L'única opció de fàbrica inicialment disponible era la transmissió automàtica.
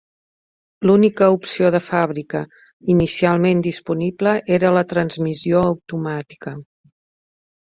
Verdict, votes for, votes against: accepted, 2, 0